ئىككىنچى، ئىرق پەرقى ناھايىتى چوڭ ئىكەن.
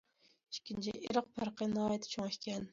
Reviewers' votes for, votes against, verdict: 2, 0, accepted